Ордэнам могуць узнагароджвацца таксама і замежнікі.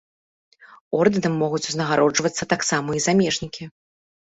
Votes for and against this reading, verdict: 3, 0, accepted